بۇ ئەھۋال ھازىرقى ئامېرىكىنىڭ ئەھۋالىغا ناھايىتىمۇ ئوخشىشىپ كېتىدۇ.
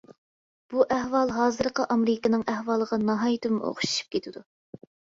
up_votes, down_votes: 2, 0